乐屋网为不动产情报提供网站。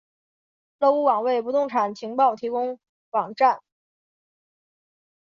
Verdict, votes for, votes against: accepted, 2, 0